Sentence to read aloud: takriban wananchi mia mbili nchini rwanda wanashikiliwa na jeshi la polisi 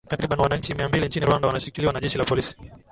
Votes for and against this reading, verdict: 2, 0, accepted